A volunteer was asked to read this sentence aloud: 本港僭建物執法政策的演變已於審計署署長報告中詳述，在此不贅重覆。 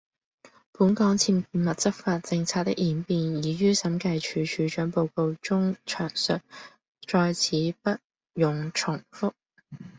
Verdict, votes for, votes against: rejected, 1, 2